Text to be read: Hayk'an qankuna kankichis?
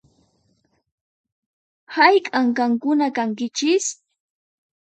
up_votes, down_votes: 4, 0